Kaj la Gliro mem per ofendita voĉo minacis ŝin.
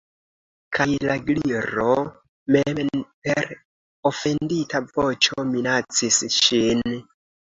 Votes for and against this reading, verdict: 2, 0, accepted